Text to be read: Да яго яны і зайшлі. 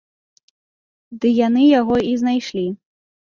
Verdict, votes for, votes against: rejected, 0, 2